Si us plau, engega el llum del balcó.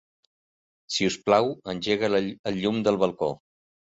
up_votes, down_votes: 1, 2